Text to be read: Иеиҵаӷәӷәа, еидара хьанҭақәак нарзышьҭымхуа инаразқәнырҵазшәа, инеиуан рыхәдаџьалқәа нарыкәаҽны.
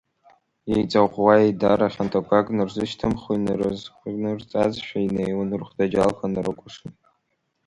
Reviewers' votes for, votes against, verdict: 0, 4, rejected